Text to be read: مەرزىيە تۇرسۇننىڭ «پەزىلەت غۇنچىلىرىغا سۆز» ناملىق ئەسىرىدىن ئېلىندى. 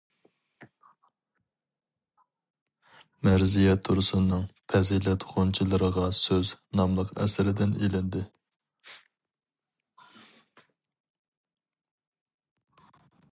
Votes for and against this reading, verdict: 2, 0, accepted